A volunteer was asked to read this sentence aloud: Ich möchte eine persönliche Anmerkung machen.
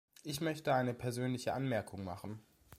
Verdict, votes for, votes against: accepted, 2, 0